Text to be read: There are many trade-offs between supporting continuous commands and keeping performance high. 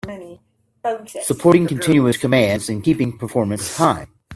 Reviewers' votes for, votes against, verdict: 0, 2, rejected